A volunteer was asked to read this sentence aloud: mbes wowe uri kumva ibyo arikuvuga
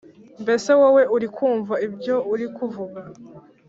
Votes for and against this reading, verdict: 1, 2, rejected